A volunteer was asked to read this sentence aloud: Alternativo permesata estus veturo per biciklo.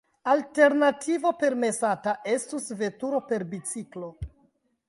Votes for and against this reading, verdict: 1, 2, rejected